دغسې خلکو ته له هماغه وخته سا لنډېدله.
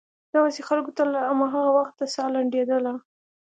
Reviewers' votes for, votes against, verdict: 2, 0, accepted